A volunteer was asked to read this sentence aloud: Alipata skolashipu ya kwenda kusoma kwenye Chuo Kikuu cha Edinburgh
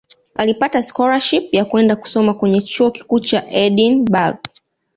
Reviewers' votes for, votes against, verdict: 2, 0, accepted